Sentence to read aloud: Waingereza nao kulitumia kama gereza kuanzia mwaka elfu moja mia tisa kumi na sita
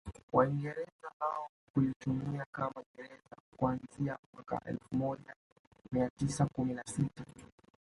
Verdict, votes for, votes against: rejected, 1, 2